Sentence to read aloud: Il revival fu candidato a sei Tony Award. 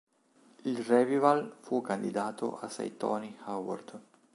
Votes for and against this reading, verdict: 0, 2, rejected